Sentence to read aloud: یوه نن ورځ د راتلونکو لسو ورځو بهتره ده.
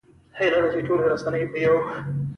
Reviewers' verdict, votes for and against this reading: rejected, 1, 2